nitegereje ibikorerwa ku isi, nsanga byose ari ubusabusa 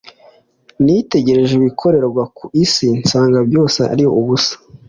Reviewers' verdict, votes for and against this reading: accepted, 2, 0